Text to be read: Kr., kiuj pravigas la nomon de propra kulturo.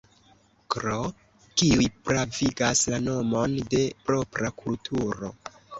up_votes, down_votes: 1, 2